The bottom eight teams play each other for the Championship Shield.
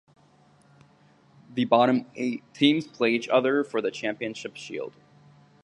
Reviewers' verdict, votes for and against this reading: accepted, 2, 0